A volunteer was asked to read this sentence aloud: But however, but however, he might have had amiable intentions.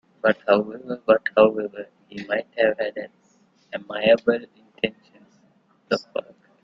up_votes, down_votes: 0, 2